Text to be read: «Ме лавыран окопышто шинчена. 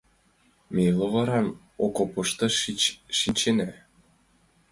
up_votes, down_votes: 1, 5